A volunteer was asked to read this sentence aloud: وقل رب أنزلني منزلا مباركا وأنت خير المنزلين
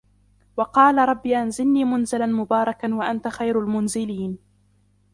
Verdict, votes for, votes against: rejected, 1, 2